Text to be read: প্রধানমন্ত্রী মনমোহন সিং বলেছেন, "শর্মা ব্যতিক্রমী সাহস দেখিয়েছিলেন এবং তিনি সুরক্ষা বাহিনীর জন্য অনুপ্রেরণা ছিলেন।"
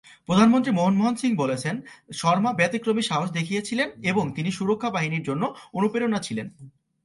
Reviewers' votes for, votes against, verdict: 2, 0, accepted